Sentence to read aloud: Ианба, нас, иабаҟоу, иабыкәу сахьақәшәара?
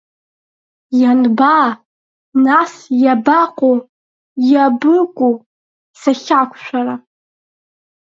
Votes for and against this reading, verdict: 3, 0, accepted